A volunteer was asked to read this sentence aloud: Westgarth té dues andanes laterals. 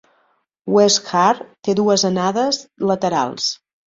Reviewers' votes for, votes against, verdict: 1, 2, rejected